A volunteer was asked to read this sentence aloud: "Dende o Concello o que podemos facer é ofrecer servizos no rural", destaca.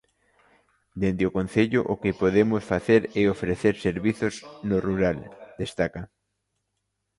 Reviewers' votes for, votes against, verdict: 2, 0, accepted